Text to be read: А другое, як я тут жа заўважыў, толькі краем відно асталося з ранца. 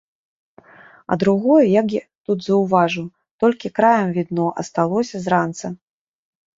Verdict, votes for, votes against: rejected, 0, 2